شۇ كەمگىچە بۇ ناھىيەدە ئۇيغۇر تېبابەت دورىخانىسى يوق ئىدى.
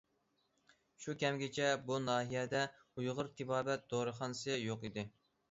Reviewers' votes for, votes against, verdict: 2, 0, accepted